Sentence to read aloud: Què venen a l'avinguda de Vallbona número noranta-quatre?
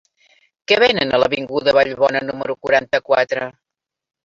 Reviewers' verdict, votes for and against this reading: rejected, 1, 2